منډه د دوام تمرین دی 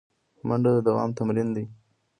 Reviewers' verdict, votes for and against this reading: accepted, 2, 1